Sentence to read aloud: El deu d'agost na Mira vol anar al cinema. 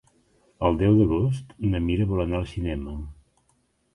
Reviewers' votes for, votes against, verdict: 3, 0, accepted